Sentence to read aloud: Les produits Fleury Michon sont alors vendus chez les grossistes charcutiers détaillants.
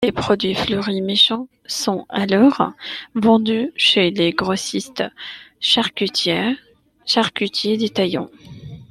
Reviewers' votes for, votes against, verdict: 0, 2, rejected